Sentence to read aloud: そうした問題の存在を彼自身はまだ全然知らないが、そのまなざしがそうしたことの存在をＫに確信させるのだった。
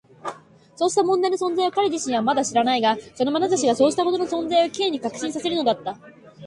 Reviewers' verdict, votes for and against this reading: rejected, 1, 3